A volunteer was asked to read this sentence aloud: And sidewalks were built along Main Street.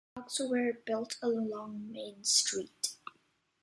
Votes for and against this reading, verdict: 1, 2, rejected